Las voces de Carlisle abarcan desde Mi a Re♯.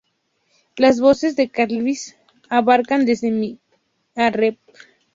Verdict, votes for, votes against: accepted, 2, 0